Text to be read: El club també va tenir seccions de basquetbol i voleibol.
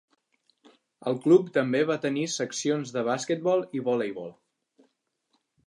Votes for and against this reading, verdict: 4, 0, accepted